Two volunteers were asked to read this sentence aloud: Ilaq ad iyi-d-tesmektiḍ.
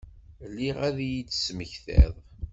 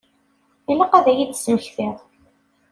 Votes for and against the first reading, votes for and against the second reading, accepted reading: 1, 2, 2, 0, second